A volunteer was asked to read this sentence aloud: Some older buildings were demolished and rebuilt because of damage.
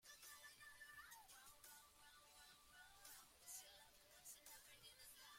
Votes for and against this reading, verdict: 0, 2, rejected